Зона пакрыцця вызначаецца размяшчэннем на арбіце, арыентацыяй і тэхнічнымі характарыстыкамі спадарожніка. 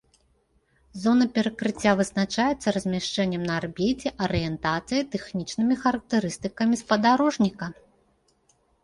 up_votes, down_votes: 0, 2